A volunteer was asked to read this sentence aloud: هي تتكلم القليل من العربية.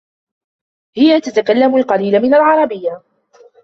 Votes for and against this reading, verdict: 1, 2, rejected